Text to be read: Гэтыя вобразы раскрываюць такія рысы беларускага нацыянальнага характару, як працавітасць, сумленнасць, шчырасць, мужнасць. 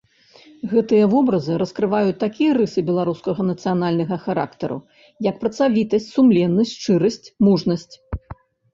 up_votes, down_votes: 1, 2